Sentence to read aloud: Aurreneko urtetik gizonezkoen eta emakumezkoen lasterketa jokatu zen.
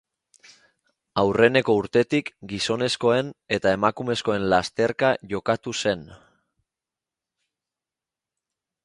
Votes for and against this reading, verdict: 0, 2, rejected